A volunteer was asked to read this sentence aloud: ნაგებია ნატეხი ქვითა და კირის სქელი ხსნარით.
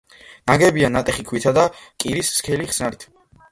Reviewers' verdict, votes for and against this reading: accepted, 2, 0